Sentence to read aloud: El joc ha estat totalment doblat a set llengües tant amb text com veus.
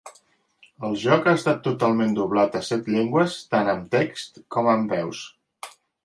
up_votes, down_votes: 1, 2